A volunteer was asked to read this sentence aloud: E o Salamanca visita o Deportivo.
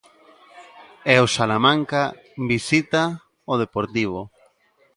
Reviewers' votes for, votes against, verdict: 2, 0, accepted